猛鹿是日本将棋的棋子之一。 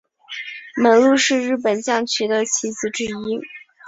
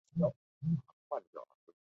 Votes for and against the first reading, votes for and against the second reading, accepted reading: 2, 0, 1, 4, first